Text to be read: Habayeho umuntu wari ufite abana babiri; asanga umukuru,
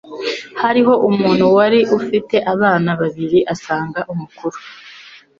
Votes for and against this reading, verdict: 1, 2, rejected